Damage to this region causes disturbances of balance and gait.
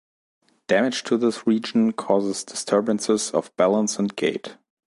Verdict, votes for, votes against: accepted, 2, 0